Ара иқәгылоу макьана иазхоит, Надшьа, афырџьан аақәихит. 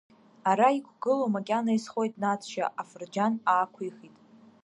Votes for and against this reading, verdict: 0, 2, rejected